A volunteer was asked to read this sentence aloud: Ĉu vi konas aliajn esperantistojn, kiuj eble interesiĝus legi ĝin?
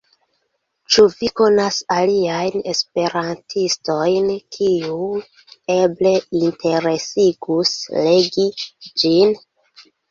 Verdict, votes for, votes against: rejected, 0, 2